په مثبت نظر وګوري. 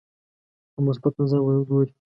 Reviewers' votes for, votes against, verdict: 0, 2, rejected